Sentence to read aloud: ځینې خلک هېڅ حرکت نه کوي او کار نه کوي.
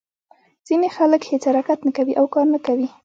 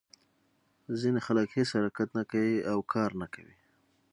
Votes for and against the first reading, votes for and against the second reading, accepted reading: 0, 2, 3, 0, second